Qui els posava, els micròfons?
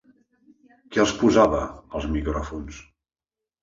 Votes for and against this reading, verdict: 3, 1, accepted